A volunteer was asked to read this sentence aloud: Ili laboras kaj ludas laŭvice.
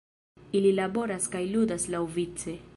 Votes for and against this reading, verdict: 2, 0, accepted